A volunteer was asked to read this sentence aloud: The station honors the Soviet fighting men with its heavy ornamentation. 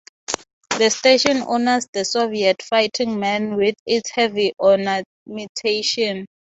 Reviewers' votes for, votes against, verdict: 3, 0, accepted